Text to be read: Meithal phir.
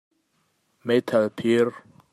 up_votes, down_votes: 2, 0